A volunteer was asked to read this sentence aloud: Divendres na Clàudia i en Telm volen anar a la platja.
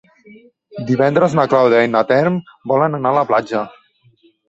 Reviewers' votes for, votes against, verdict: 1, 3, rejected